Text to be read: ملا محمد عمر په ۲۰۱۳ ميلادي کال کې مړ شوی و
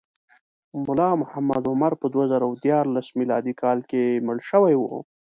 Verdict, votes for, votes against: rejected, 0, 2